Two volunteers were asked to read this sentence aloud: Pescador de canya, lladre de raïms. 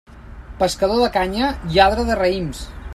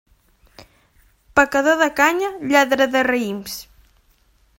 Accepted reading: first